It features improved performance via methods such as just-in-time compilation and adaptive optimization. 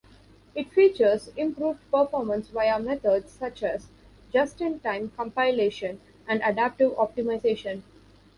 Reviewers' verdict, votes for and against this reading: accepted, 3, 0